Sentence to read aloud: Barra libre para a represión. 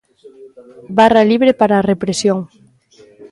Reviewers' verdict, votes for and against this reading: accepted, 2, 0